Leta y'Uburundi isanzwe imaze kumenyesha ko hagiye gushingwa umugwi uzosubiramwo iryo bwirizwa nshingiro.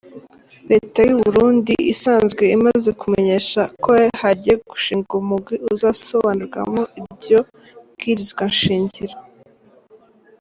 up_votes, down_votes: 0, 2